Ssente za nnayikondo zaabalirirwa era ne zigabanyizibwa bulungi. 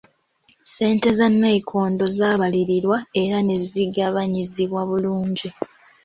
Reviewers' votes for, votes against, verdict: 3, 0, accepted